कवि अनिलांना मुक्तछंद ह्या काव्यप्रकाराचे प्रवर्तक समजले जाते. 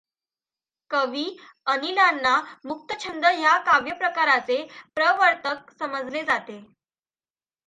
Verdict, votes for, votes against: accepted, 2, 0